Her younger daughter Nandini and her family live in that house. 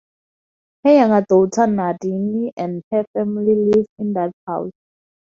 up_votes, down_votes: 2, 2